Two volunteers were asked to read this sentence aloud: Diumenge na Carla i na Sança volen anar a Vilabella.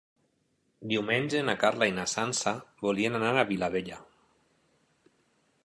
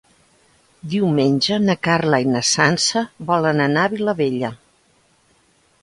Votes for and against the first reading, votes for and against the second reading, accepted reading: 1, 2, 2, 0, second